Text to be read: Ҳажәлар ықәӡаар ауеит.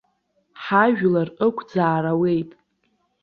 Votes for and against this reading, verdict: 3, 0, accepted